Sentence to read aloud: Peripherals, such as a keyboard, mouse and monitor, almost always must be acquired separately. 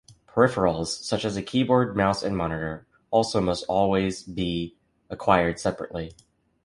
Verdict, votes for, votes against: rejected, 1, 2